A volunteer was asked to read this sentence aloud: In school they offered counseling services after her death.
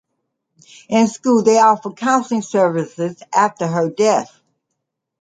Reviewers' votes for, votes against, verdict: 2, 0, accepted